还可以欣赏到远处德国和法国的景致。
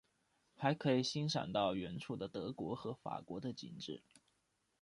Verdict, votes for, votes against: rejected, 0, 2